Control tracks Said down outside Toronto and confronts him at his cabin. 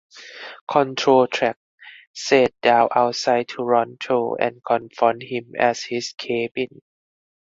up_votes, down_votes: 0, 4